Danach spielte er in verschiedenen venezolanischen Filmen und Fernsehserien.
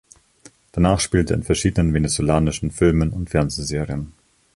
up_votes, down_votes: 1, 2